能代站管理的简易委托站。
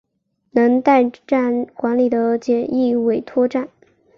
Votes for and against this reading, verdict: 4, 0, accepted